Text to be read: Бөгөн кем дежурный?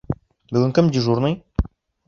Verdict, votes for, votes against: accepted, 3, 0